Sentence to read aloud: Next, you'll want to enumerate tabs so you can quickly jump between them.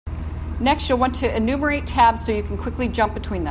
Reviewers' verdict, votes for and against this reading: accepted, 2, 0